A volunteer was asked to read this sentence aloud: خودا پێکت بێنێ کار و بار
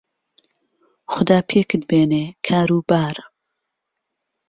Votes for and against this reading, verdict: 2, 0, accepted